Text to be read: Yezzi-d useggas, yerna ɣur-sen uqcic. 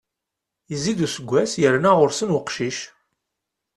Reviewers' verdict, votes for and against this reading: accepted, 2, 0